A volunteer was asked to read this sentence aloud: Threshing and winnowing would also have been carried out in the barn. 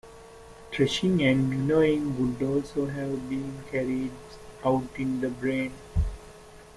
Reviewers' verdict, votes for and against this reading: rejected, 0, 2